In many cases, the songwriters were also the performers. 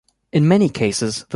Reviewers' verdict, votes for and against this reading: accepted, 2, 0